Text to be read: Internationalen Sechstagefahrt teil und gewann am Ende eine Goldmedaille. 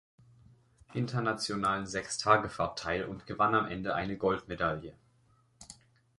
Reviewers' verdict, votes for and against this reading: accepted, 2, 0